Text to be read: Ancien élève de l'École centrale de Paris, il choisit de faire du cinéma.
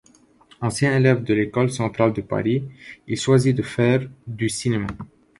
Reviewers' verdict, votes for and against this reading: accepted, 2, 0